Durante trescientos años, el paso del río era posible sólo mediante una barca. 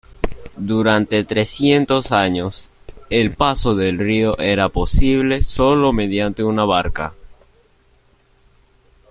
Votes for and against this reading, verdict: 2, 1, accepted